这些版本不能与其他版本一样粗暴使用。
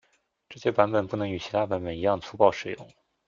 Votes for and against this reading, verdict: 1, 2, rejected